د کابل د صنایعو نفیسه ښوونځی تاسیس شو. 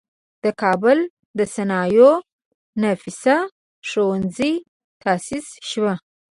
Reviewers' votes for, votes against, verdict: 1, 2, rejected